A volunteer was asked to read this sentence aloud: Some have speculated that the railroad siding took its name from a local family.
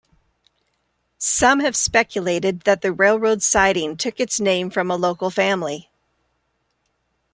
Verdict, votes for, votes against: accepted, 2, 0